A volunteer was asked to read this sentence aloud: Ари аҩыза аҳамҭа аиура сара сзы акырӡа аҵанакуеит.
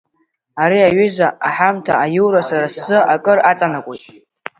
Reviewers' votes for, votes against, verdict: 1, 2, rejected